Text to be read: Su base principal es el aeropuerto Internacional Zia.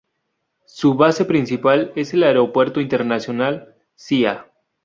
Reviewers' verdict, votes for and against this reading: accepted, 2, 0